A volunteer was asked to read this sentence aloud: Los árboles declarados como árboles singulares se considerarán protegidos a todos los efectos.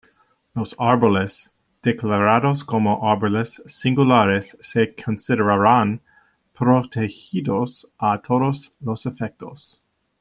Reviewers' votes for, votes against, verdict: 2, 1, accepted